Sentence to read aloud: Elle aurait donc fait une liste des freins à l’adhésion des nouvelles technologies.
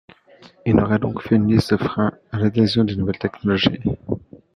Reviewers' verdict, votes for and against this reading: rejected, 0, 2